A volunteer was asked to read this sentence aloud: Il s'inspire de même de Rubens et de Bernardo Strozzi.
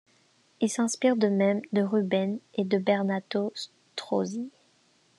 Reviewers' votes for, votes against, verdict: 0, 2, rejected